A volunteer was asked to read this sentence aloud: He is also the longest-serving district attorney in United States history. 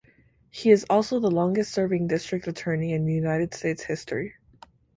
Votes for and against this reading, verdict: 2, 4, rejected